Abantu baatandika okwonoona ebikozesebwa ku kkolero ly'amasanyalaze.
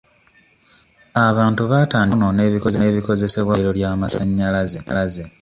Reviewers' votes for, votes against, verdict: 1, 2, rejected